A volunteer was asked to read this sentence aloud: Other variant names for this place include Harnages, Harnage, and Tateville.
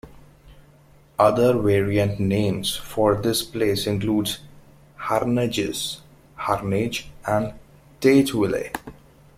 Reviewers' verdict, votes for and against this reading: accepted, 2, 0